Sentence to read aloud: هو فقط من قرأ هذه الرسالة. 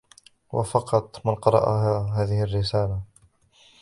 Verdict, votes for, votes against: rejected, 1, 2